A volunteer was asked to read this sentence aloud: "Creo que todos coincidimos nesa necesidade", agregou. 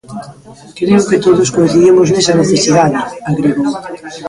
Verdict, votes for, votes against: rejected, 0, 2